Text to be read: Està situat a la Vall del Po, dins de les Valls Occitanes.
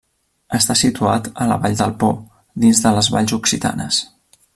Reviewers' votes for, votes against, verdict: 3, 0, accepted